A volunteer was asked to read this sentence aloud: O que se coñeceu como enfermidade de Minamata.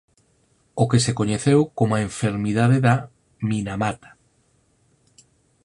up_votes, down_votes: 0, 4